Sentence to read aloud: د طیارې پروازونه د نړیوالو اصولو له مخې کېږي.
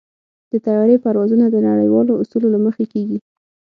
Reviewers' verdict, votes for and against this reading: accepted, 6, 0